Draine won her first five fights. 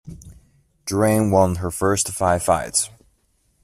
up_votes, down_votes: 2, 0